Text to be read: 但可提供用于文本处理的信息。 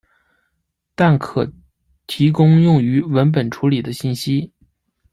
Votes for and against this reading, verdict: 2, 1, accepted